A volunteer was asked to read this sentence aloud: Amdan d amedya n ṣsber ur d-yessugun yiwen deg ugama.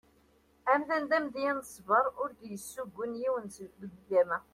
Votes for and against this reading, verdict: 2, 0, accepted